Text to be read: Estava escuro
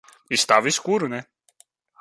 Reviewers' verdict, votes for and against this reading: rejected, 0, 2